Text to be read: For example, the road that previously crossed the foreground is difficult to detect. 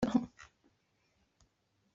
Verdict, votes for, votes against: rejected, 0, 2